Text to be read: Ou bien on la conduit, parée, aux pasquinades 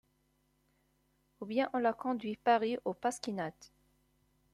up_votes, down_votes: 2, 0